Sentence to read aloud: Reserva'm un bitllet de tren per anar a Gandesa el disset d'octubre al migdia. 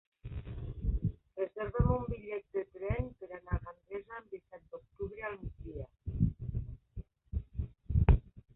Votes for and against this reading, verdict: 1, 2, rejected